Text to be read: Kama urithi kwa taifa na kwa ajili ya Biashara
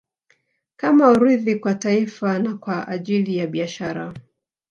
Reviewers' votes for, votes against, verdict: 2, 1, accepted